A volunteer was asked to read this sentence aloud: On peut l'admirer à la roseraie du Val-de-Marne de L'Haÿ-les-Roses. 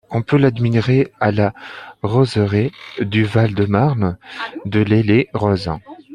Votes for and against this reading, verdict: 0, 2, rejected